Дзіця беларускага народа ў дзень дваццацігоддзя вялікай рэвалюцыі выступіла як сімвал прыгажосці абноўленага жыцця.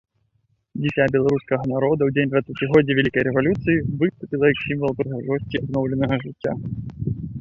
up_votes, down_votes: 0, 2